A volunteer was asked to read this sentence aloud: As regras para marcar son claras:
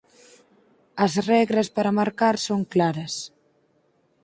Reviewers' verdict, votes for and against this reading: accepted, 6, 0